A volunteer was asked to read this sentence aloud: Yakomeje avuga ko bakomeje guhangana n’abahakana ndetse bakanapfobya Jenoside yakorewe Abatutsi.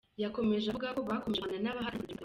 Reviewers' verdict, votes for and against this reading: rejected, 0, 2